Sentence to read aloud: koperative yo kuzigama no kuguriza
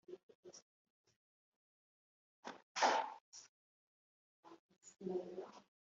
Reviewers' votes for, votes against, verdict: 0, 2, rejected